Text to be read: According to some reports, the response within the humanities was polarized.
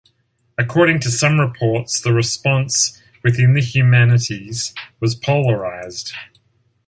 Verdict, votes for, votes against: accepted, 2, 0